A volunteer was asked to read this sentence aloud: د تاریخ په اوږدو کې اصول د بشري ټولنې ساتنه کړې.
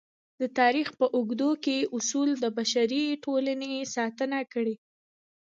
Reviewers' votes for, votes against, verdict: 2, 0, accepted